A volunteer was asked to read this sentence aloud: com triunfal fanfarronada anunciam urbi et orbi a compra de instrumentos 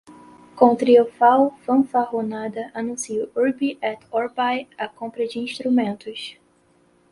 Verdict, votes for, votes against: rejected, 0, 4